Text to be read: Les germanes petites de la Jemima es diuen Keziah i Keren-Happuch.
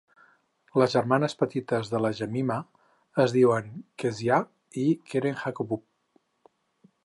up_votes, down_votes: 2, 4